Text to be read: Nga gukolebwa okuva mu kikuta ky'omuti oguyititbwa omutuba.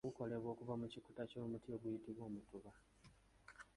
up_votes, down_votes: 1, 2